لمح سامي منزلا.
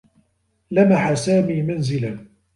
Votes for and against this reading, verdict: 2, 0, accepted